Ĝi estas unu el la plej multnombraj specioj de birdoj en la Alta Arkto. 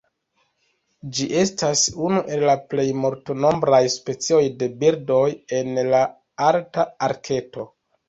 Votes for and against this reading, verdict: 1, 2, rejected